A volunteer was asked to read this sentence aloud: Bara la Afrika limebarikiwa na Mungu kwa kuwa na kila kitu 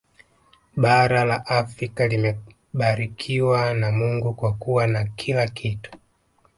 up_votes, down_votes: 2, 0